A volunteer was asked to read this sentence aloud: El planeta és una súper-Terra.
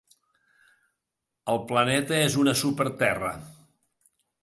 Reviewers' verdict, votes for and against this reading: accepted, 2, 0